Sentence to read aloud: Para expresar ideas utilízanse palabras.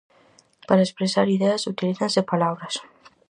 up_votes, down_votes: 4, 0